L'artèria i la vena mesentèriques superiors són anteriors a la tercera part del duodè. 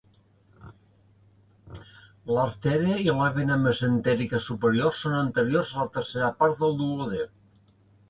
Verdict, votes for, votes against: accepted, 4, 1